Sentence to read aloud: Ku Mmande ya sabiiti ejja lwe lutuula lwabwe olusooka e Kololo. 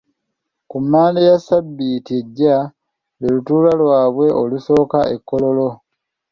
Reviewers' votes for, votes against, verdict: 2, 0, accepted